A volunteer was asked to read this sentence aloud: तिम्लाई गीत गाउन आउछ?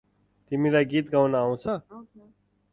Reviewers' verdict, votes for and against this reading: rejected, 2, 4